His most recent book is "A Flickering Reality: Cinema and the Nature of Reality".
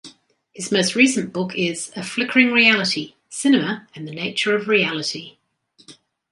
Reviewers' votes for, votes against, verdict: 2, 0, accepted